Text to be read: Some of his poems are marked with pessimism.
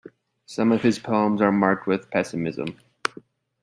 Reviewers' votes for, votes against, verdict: 2, 0, accepted